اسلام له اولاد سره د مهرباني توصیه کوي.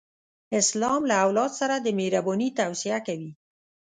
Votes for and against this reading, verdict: 2, 0, accepted